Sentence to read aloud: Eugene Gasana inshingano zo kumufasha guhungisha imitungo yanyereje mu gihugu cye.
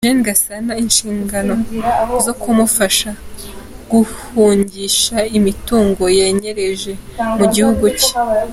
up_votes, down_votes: 2, 1